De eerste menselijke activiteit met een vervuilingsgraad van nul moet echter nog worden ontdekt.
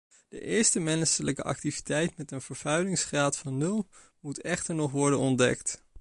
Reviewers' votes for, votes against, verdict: 1, 3, rejected